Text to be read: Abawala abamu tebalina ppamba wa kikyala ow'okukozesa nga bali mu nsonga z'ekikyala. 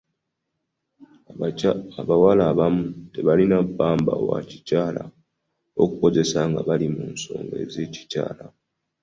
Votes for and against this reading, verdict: 2, 1, accepted